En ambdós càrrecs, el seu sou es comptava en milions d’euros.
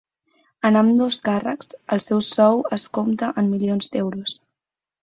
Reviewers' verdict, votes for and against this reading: rejected, 0, 6